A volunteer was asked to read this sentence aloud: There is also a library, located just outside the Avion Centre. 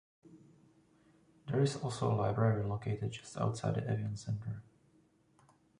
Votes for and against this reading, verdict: 0, 2, rejected